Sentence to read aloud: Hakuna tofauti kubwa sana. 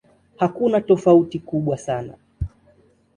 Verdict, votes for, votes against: accepted, 2, 0